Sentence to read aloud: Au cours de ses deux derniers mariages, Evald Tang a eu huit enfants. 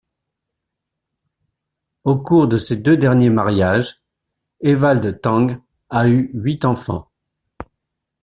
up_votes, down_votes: 2, 0